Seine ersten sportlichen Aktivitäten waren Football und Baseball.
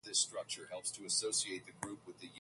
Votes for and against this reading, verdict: 0, 4, rejected